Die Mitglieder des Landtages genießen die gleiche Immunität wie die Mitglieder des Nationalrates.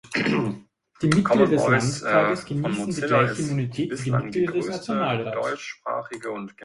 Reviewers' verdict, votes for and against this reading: rejected, 0, 2